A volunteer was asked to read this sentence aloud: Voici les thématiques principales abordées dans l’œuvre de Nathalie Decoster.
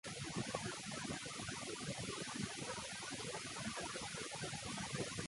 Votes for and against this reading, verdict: 0, 2, rejected